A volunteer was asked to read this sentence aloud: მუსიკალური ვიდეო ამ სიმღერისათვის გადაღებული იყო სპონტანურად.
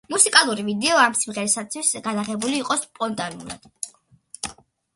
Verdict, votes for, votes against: accepted, 2, 1